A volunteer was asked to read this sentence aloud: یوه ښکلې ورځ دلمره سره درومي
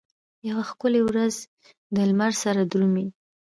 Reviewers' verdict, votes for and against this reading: accepted, 2, 0